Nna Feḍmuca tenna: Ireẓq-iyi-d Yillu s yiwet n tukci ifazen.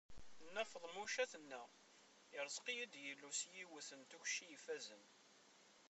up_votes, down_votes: 1, 2